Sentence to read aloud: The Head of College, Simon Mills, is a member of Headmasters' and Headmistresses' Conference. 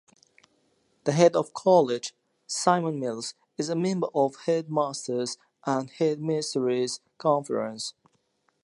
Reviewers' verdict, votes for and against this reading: accepted, 2, 0